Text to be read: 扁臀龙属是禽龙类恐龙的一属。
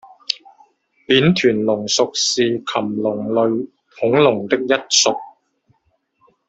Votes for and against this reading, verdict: 1, 2, rejected